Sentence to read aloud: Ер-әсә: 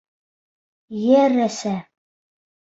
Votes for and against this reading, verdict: 2, 0, accepted